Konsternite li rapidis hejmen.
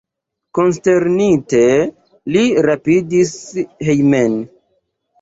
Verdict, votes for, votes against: rejected, 1, 2